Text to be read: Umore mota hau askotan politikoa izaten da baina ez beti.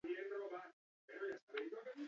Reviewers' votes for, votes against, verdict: 0, 4, rejected